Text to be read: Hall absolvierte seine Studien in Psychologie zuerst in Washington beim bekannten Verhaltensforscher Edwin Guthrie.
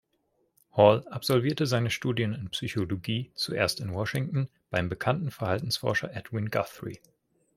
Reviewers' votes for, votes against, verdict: 2, 0, accepted